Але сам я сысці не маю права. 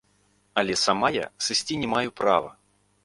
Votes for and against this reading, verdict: 0, 2, rejected